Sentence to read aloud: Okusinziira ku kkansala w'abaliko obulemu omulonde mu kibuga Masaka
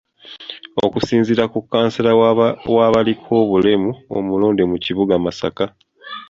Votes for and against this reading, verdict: 1, 2, rejected